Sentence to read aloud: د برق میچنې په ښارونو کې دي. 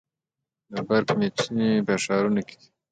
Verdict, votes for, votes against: accepted, 2, 0